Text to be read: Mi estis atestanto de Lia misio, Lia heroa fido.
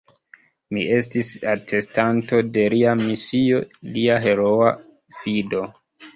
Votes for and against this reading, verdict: 0, 2, rejected